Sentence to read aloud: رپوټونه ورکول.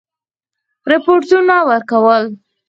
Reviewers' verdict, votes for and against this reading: rejected, 0, 4